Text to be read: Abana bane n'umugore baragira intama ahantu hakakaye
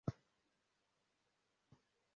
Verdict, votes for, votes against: rejected, 0, 2